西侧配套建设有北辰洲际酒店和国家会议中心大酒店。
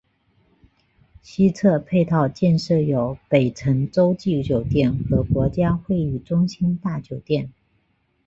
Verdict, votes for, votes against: rejected, 2, 2